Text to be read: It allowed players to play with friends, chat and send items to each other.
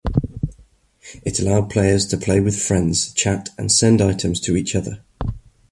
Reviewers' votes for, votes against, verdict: 2, 0, accepted